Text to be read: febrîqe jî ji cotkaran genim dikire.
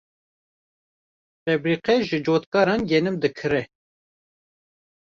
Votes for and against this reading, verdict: 1, 2, rejected